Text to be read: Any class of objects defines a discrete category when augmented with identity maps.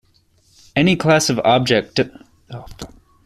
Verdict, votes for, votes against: rejected, 0, 2